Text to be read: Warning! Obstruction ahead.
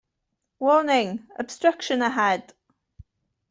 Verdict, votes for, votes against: accepted, 2, 0